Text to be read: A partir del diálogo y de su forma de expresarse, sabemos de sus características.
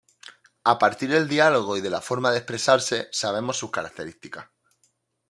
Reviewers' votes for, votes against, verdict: 0, 2, rejected